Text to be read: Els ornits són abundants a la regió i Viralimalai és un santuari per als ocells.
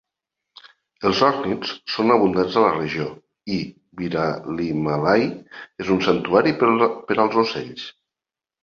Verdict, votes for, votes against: rejected, 1, 2